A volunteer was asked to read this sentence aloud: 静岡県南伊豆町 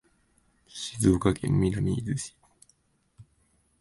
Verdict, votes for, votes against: rejected, 1, 2